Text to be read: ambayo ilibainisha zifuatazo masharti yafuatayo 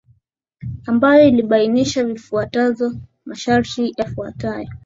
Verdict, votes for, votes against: accepted, 5, 1